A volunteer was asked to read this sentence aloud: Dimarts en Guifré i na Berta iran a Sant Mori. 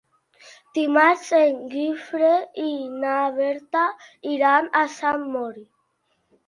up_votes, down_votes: 2, 0